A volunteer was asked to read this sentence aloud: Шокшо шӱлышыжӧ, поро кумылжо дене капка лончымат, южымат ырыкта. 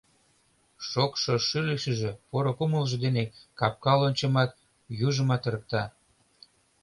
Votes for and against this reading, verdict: 1, 2, rejected